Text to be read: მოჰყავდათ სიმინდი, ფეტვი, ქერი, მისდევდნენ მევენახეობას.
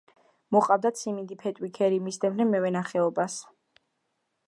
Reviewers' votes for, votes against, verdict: 2, 0, accepted